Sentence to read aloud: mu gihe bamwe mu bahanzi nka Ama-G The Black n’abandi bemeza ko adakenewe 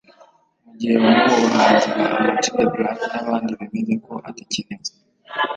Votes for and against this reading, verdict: 1, 2, rejected